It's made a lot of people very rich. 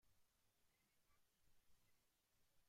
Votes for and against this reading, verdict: 0, 2, rejected